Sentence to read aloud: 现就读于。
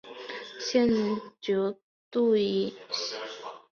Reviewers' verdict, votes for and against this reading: rejected, 1, 2